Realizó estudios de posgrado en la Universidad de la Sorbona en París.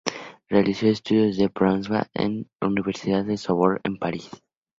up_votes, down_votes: 2, 0